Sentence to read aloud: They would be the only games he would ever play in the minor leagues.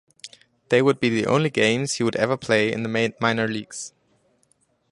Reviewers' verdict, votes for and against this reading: rejected, 0, 2